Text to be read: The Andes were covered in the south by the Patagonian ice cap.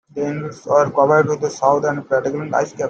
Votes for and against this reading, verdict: 0, 2, rejected